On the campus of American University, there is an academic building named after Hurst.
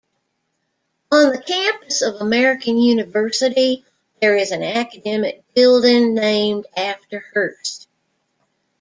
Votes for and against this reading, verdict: 2, 0, accepted